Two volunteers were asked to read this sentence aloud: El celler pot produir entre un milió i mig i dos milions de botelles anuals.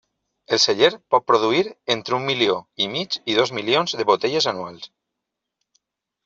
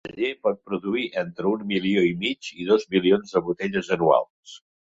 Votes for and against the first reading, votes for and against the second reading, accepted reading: 3, 0, 1, 2, first